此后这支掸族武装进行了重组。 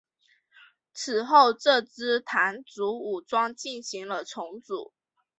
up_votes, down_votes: 3, 0